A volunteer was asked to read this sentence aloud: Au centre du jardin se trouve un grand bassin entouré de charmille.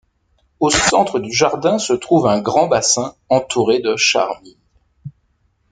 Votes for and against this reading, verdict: 1, 2, rejected